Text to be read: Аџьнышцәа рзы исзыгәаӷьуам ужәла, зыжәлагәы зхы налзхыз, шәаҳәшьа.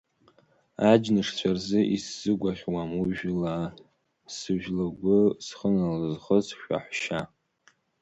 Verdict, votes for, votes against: rejected, 1, 2